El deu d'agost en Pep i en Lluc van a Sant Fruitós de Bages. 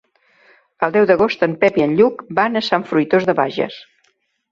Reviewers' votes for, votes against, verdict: 4, 0, accepted